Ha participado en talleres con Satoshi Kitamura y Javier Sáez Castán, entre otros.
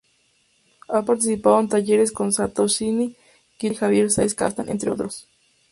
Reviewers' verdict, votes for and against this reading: rejected, 0, 2